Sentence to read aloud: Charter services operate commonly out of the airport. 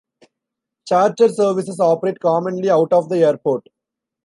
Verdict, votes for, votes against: accepted, 2, 0